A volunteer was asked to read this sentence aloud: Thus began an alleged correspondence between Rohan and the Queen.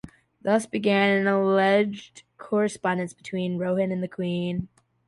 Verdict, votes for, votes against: accepted, 2, 0